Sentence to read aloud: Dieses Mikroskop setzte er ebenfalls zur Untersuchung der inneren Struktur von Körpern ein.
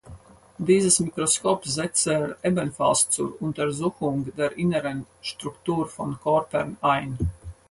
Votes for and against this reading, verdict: 0, 4, rejected